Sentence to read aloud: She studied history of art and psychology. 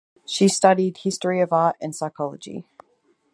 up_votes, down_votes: 4, 0